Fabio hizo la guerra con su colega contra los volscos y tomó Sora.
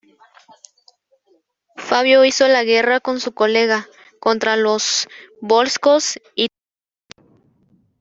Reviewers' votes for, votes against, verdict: 0, 2, rejected